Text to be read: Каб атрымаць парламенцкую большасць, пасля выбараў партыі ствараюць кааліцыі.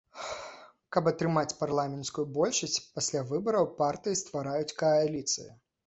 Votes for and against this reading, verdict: 2, 0, accepted